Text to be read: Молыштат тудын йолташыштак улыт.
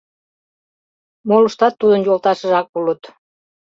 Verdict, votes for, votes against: rejected, 1, 2